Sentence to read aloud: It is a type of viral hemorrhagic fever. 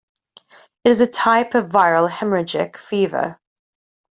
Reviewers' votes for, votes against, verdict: 0, 2, rejected